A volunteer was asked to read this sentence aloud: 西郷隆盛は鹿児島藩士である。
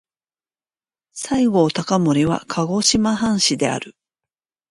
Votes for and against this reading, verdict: 2, 1, accepted